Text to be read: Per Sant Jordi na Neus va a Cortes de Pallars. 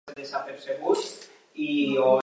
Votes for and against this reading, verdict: 0, 2, rejected